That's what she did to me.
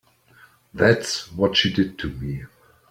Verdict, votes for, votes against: accepted, 2, 0